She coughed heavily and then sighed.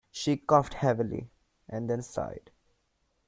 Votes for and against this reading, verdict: 2, 0, accepted